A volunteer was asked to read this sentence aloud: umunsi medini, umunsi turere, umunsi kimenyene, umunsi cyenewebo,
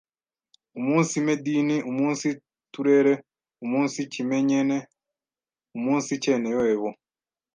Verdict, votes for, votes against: rejected, 1, 2